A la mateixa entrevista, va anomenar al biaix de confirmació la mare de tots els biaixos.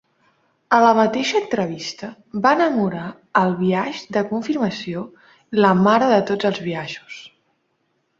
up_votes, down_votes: 0, 2